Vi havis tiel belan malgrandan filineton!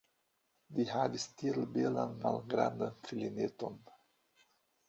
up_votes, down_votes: 1, 2